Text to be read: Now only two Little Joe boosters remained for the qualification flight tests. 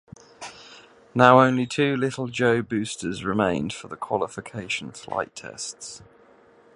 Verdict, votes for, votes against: accepted, 2, 0